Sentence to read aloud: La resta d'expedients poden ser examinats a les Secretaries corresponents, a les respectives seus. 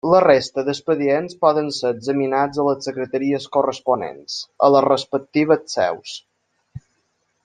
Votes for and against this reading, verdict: 3, 0, accepted